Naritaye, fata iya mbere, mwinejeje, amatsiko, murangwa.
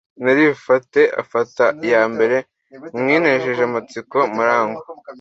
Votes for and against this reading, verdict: 1, 2, rejected